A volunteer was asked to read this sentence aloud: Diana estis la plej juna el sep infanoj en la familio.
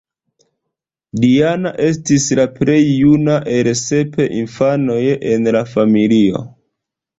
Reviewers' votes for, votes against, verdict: 1, 2, rejected